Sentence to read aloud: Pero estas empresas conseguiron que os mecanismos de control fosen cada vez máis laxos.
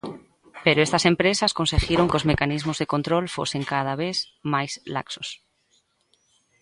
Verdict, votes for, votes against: accepted, 2, 0